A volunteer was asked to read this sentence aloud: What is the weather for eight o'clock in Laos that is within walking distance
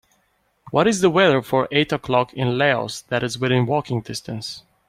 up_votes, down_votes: 2, 0